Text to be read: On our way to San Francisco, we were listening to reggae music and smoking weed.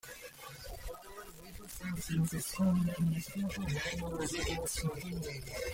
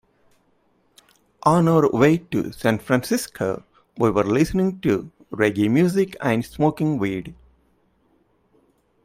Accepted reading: second